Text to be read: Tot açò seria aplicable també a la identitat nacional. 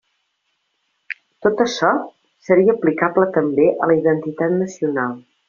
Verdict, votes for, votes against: accepted, 2, 0